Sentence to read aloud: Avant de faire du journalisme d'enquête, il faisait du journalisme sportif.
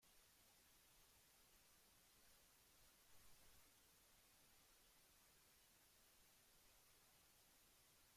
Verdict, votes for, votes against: rejected, 0, 2